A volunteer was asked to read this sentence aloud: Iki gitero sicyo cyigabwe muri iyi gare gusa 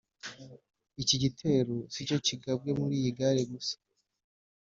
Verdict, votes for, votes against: accepted, 2, 0